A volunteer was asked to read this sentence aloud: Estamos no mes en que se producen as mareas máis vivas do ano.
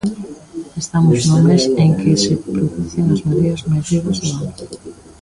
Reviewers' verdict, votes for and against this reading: rejected, 1, 2